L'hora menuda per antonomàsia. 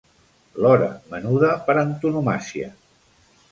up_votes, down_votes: 2, 0